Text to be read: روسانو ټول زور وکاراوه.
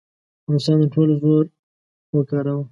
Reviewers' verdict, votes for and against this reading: accepted, 2, 0